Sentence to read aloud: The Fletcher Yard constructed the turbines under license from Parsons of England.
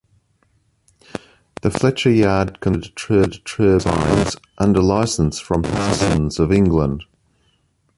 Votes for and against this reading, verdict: 0, 2, rejected